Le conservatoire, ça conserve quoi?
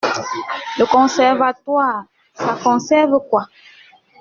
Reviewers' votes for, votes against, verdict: 2, 1, accepted